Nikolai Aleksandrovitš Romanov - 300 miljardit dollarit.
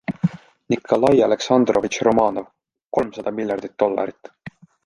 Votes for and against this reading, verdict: 0, 2, rejected